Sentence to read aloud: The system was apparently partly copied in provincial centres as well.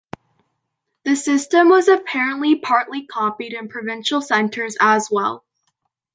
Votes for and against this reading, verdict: 2, 1, accepted